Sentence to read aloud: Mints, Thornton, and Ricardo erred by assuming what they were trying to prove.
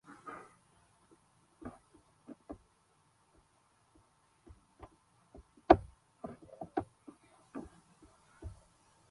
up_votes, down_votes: 0, 2